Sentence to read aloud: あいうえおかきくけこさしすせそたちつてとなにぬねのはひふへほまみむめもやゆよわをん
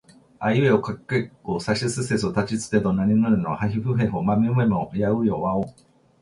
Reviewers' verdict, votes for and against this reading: accepted, 2, 0